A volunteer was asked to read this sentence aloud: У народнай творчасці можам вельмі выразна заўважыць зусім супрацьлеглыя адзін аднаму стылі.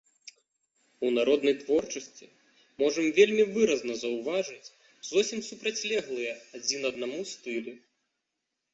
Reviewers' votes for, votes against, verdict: 1, 3, rejected